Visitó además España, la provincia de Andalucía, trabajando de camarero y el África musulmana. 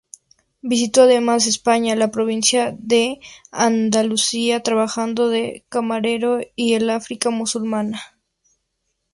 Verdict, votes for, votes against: accepted, 2, 0